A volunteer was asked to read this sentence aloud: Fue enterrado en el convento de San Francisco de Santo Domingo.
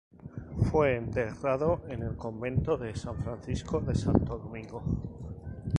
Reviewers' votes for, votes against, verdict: 2, 0, accepted